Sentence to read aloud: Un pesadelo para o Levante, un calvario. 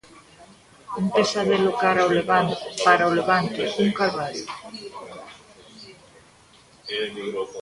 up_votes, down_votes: 0, 2